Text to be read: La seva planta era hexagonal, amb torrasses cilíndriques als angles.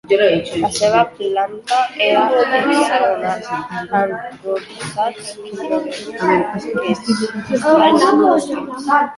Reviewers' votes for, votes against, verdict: 0, 2, rejected